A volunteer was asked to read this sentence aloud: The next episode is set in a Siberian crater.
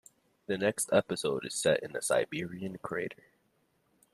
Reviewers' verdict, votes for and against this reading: accepted, 3, 0